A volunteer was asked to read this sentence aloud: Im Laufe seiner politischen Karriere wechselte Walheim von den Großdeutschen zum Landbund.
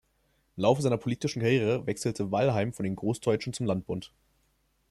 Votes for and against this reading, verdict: 1, 2, rejected